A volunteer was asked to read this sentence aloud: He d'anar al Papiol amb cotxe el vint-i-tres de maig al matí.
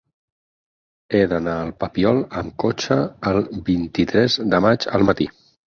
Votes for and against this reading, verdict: 8, 0, accepted